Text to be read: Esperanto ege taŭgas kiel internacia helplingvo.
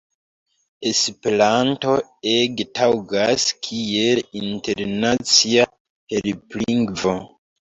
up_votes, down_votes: 1, 2